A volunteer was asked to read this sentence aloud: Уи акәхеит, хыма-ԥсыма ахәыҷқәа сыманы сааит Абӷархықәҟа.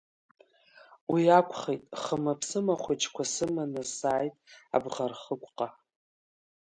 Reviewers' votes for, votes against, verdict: 3, 1, accepted